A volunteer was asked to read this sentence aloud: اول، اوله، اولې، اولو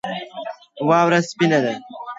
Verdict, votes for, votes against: rejected, 0, 2